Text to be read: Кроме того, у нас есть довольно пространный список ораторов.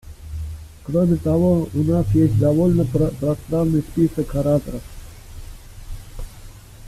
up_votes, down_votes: 0, 2